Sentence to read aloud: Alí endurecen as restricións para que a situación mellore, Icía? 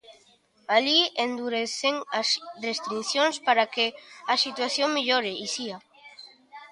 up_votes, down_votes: 1, 2